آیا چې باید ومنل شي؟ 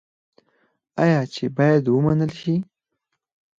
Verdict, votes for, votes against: rejected, 0, 4